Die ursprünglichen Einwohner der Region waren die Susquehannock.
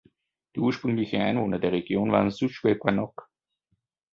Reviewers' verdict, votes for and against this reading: rejected, 1, 2